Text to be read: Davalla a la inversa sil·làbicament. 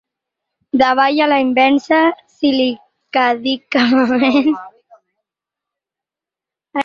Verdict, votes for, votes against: rejected, 2, 4